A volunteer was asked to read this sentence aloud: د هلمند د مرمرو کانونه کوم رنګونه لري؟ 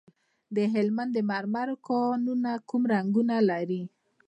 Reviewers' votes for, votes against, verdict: 1, 2, rejected